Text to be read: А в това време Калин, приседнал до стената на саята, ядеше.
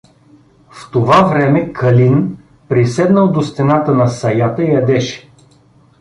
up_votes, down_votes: 0, 2